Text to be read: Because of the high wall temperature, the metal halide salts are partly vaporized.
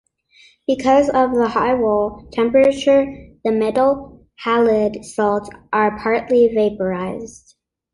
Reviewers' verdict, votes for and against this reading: accepted, 2, 0